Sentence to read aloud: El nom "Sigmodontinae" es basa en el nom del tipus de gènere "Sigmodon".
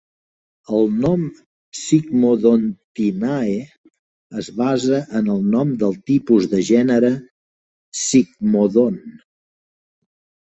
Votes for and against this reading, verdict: 3, 0, accepted